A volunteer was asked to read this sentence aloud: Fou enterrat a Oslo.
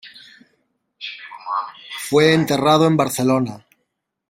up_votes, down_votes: 0, 2